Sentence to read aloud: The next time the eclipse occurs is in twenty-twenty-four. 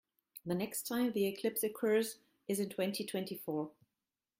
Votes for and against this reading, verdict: 2, 0, accepted